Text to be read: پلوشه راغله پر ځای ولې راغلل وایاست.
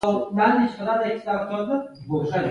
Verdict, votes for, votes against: accepted, 2, 1